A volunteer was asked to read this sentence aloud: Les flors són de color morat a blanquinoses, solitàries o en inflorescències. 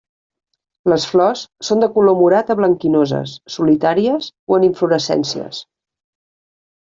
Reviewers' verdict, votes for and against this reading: accepted, 3, 0